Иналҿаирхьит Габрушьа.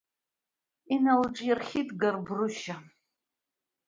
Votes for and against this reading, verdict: 2, 0, accepted